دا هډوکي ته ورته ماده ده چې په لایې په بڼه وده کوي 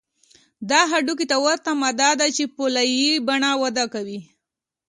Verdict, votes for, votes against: accepted, 2, 0